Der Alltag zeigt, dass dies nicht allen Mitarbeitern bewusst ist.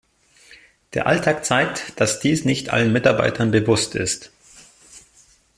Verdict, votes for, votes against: accepted, 2, 0